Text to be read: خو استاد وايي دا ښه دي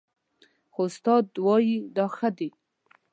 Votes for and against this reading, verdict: 2, 0, accepted